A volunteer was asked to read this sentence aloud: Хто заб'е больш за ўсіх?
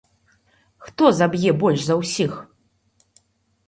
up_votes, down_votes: 2, 0